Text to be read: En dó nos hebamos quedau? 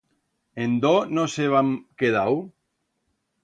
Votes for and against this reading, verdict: 1, 2, rejected